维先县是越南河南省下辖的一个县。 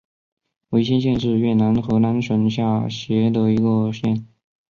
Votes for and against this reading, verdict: 2, 0, accepted